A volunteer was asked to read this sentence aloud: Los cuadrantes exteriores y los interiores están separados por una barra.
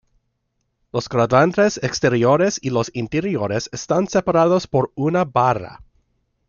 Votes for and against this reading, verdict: 2, 1, accepted